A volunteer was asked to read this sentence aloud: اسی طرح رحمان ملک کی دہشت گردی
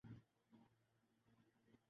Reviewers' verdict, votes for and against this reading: rejected, 1, 3